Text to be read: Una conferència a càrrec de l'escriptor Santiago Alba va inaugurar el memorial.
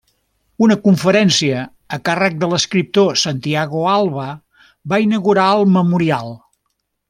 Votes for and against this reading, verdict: 3, 0, accepted